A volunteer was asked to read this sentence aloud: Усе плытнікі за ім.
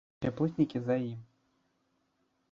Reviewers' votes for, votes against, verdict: 1, 2, rejected